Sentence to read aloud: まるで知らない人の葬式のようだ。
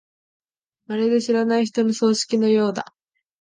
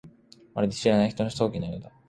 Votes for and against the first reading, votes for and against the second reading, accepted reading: 4, 0, 2, 3, first